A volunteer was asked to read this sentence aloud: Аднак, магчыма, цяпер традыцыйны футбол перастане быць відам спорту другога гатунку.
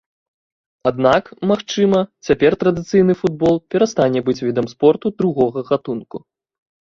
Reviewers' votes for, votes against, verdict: 2, 0, accepted